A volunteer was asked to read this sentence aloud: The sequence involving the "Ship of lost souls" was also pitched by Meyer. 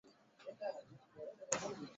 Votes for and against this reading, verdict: 0, 2, rejected